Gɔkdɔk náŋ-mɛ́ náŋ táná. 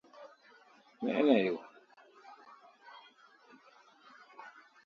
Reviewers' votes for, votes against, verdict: 0, 2, rejected